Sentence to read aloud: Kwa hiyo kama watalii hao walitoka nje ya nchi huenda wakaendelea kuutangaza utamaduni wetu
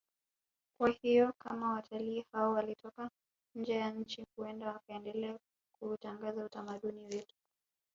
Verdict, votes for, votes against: rejected, 0, 2